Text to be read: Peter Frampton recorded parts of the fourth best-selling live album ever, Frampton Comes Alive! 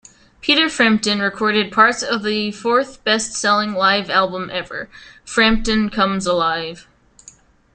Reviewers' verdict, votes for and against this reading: accepted, 2, 0